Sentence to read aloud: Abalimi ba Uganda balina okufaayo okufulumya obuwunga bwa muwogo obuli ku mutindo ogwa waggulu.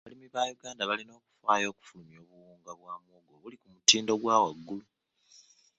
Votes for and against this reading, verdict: 1, 2, rejected